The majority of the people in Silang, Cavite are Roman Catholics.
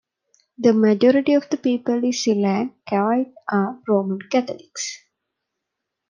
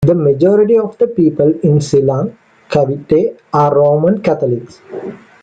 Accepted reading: second